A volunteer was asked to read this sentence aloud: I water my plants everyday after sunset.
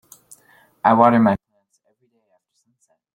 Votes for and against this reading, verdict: 0, 2, rejected